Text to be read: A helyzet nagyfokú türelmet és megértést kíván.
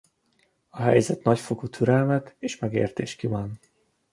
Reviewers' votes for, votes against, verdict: 2, 1, accepted